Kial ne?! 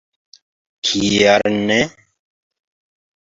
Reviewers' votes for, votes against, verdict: 2, 0, accepted